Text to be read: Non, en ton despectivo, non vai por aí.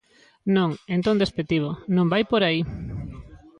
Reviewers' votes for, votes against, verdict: 2, 1, accepted